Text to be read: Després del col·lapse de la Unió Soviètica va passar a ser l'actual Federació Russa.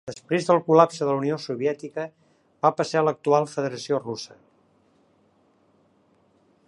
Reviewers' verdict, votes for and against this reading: rejected, 1, 2